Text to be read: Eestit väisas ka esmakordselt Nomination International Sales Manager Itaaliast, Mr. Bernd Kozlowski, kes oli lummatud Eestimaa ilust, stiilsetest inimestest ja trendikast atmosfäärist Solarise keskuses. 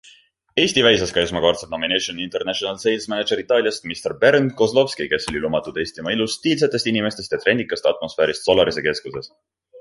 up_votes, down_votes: 0, 2